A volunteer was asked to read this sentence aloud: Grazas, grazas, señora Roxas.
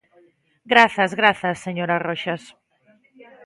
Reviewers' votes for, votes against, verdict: 2, 0, accepted